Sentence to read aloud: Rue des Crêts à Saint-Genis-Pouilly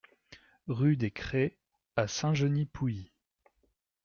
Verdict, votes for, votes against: accepted, 2, 0